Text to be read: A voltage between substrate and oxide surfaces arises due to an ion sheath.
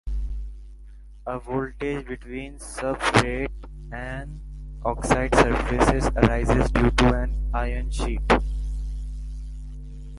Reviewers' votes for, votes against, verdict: 0, 2, rejected